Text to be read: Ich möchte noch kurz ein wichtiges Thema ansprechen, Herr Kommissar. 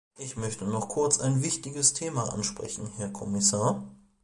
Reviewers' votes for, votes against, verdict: 2, 1, accepted